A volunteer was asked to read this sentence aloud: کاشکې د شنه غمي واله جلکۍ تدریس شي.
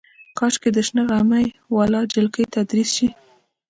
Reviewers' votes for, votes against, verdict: 0, 2, rejected